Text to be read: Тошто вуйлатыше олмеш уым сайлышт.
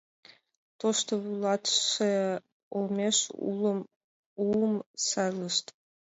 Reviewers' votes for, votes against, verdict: 0, 2, rejected